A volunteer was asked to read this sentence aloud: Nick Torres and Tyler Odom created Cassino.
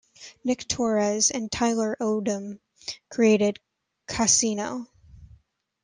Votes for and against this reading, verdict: 2, 1, accepted